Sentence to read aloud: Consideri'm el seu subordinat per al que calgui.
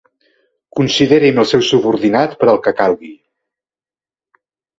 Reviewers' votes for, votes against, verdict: 2, 0, accepted